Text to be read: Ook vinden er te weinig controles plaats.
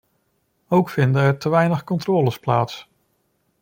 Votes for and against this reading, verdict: 2, 0, accepted